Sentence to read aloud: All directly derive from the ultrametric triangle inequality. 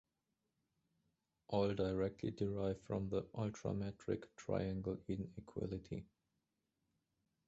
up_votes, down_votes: 2, 0